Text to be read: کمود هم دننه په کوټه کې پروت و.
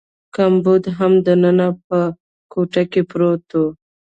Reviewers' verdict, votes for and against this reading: rejected, 1, 2